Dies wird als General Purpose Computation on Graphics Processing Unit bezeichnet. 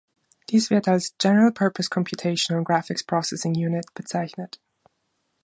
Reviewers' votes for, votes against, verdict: 2, 0, accepted